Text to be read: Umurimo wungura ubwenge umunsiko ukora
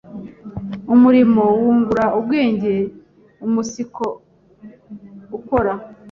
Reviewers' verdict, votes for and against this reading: rejected, 1, 2